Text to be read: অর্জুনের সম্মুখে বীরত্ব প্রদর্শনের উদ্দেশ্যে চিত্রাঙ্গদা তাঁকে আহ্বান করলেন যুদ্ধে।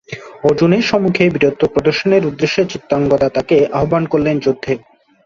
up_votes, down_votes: 2, 0